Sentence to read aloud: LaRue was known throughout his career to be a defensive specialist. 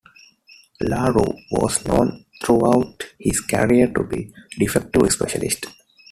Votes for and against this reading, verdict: 1, 2, rejected